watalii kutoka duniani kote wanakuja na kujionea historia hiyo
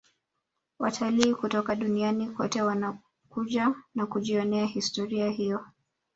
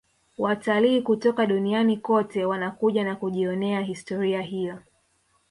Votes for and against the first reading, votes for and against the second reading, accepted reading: 2, 0, 1, 2, first